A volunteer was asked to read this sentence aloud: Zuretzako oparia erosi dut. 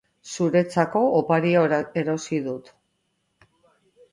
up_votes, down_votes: 0, 2